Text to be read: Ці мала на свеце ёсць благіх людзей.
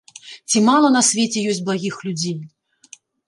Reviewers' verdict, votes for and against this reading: rejected, 1, 2